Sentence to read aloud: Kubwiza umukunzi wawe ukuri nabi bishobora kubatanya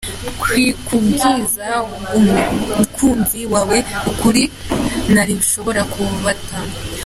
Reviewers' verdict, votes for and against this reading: rejected, 0, 2